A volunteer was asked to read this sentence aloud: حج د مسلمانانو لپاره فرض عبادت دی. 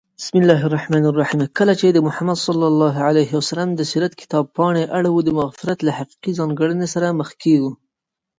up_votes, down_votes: 0, 2